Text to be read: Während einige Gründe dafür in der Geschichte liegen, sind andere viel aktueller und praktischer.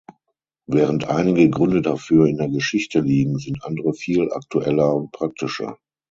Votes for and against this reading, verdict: 6, 0, accepted